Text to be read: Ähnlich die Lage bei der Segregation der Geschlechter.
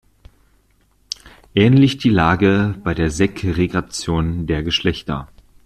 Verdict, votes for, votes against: accepted, 2, 0